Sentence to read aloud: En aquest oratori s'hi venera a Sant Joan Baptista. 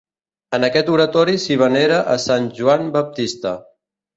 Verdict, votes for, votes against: accepted, 2, 0